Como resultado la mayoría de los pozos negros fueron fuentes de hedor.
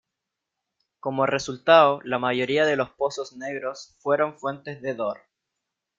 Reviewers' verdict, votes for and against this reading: rejected, 0, 2